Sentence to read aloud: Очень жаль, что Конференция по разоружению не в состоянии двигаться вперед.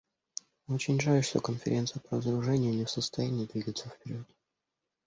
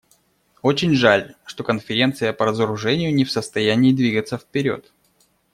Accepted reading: second